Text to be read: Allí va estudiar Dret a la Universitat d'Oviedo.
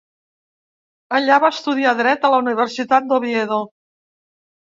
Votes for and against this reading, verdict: 0, 2, rejected